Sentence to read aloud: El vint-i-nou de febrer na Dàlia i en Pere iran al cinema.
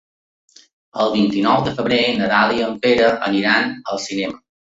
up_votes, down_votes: 0, 2